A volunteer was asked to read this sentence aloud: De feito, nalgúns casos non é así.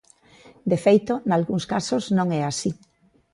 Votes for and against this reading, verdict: 2, 0, accepted